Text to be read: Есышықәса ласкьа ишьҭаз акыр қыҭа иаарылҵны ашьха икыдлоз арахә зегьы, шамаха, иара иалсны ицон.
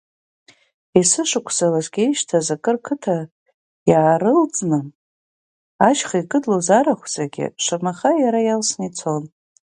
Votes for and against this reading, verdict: 3, 0, accepted